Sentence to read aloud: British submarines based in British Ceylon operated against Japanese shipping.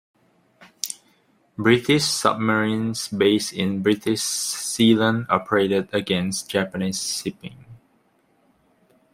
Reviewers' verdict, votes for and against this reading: rejected, 1, 2